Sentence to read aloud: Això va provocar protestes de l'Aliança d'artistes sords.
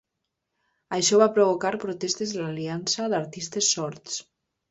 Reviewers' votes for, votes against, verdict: 3, 0, accepted